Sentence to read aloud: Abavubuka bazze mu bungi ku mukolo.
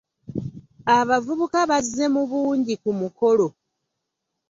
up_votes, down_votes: 2, 0